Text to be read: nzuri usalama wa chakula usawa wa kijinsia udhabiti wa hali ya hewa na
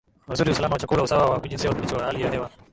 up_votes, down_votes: 0, 3